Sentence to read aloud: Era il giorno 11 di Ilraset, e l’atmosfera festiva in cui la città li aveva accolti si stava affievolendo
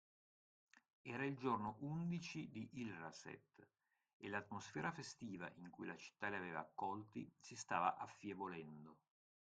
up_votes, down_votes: 0, 2